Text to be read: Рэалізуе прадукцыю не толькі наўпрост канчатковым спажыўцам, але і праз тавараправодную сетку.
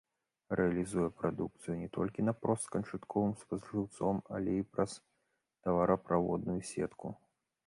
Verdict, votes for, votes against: rejected, 1, 2